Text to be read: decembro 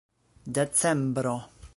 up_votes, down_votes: 2, 0